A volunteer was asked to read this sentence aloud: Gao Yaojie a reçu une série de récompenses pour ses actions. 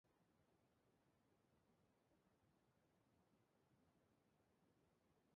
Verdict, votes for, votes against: rejected, 0, 2